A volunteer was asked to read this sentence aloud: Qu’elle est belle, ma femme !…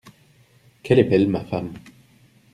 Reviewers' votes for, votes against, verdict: 2, 0, accepted